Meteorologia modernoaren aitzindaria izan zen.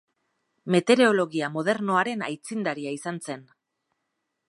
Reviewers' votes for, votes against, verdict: 2, 0, accepted